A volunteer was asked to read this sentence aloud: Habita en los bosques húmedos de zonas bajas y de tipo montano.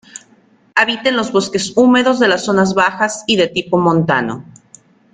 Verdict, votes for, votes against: rejected, 0, 2